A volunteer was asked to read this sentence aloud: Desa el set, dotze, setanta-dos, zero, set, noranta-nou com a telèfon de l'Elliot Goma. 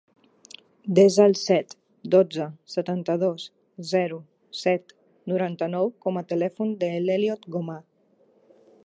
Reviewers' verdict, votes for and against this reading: accepted, 2, 0